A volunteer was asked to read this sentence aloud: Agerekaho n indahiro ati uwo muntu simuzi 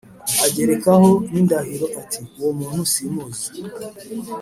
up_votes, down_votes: 3, 0